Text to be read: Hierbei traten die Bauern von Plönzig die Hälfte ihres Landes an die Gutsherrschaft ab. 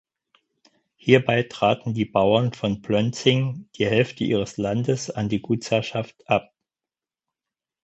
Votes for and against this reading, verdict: 0, 4, rejected